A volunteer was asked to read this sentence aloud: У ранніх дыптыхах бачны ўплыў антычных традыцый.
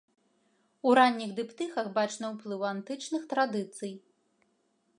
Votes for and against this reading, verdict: 1, 2, rejected